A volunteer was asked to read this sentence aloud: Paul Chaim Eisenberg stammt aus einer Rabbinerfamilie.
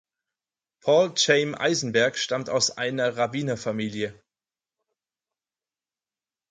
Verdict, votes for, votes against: accepted, 4, 0